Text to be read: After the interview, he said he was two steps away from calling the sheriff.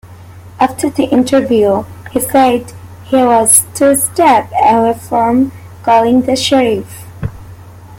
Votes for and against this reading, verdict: 2, 0, accepted